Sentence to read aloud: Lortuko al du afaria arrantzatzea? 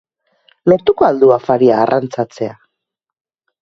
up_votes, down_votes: 4, 0